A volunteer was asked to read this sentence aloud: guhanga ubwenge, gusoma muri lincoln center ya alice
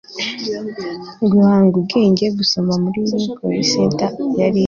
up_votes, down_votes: 0, 2